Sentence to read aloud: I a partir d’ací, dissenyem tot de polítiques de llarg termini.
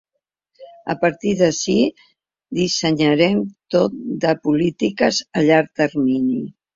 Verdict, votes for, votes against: rejected, 0, 2